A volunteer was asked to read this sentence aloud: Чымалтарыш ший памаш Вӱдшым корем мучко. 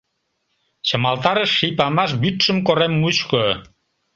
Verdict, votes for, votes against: accepted, 2, 0